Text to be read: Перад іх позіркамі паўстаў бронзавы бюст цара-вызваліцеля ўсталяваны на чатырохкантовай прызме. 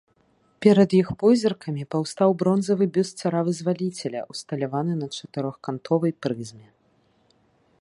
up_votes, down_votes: 2, 0